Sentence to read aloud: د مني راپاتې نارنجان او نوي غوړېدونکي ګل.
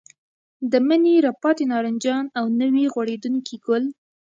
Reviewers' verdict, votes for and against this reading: rejected, 0, 2